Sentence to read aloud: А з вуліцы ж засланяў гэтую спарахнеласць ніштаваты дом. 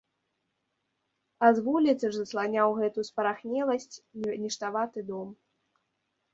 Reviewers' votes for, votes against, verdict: 1, 2, rejected